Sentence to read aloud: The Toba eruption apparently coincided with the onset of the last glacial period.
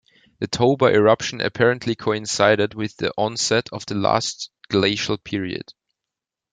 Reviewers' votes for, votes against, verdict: 2, 0, accepted